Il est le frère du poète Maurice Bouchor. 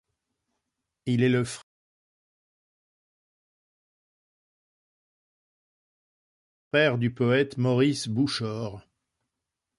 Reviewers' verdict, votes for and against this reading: rejected, 0, 2